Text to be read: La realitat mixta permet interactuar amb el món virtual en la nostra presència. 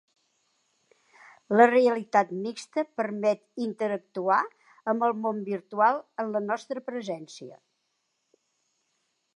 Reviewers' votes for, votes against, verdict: 3, 0, accepted